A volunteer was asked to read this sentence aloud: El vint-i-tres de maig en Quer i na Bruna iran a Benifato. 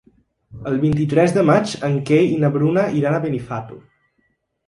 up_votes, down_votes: 1, 2